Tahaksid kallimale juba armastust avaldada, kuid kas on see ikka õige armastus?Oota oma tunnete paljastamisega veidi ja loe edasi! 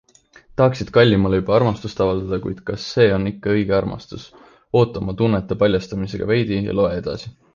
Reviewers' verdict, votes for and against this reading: rejected, 1, 2